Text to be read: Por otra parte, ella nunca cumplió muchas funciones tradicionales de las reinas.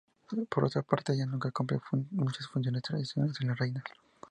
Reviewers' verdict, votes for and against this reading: rejected, 4, 6